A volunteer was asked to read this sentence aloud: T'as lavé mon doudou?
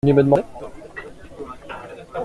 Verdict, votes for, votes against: rejected, 0, 2